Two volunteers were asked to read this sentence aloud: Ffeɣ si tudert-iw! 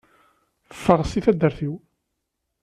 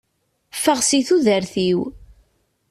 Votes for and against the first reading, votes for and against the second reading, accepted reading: 1, 2, 2, 0, second